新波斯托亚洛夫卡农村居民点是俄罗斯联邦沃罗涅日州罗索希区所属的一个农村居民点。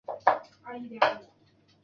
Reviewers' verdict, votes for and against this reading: rejected, 1, 2